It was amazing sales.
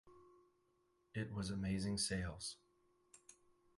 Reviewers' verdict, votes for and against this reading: accepted, 4, 0